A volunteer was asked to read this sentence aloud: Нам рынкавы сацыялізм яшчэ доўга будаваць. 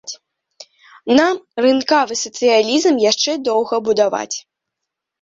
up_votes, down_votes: 0, 2